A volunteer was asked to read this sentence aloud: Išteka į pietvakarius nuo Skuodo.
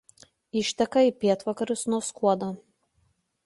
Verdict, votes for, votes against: accepted, 2, 0